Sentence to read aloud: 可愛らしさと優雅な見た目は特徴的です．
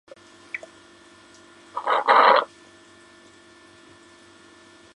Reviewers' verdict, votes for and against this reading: rejected, 0, 3